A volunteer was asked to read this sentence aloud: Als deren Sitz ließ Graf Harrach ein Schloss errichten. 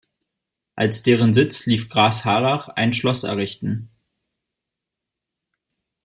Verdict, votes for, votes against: rejected, 0, 2